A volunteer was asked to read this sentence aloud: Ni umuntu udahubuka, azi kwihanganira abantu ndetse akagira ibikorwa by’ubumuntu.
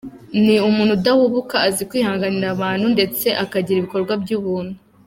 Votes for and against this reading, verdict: 0, 2, rejected